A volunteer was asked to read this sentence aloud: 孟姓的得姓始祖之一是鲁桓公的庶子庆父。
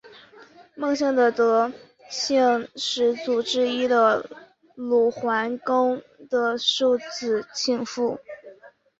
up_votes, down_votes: 2, 0